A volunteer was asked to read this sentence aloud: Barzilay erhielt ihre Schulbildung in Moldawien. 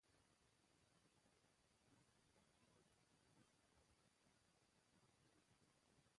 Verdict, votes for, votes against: rejected, 0, 2